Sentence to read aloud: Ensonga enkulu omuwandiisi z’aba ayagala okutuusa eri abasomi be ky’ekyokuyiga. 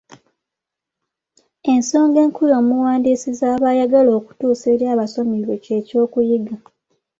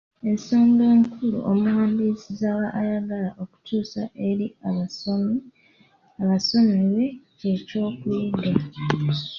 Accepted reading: first